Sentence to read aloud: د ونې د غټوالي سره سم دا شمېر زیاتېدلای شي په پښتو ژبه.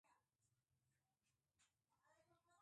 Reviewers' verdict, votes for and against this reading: rejected, 1, 3